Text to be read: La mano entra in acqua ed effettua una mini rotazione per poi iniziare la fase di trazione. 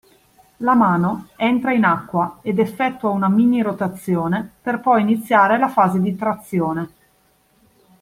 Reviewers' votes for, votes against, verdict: 2, 0, accepted